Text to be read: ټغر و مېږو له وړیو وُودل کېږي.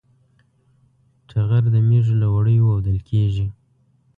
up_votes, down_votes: 2, 0